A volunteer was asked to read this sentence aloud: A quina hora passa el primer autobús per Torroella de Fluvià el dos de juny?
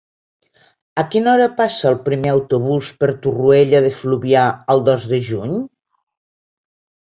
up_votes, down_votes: 2, 0